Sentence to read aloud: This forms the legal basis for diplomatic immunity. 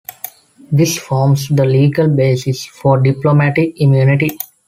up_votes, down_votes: 2, 0